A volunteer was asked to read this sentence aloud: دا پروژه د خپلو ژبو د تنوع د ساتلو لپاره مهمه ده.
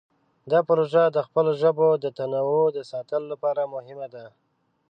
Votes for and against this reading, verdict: 2, 0, accepted